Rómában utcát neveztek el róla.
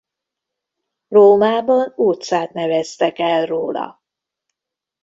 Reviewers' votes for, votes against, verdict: 2, 0, accepted